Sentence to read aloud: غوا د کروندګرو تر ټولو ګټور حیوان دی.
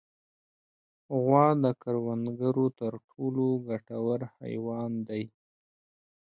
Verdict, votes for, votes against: accepted, 2, 0